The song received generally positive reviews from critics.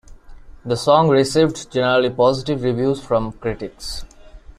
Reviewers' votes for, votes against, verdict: 2, 0, accepted